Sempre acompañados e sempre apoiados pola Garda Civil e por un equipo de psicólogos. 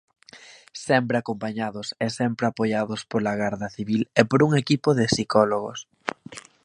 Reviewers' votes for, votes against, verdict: 2, 0, accepted